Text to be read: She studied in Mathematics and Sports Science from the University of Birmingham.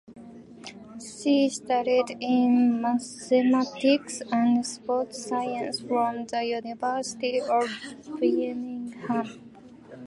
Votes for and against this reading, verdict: 0, 2, rejected